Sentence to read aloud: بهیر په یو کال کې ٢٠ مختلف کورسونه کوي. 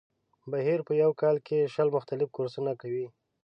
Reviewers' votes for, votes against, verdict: 0, 2, rejected